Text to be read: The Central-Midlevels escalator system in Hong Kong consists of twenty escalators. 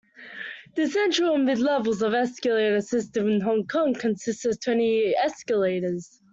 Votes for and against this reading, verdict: 1, 2, rejected